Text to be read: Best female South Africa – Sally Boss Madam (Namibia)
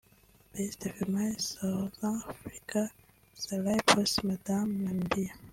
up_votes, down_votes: 1, 3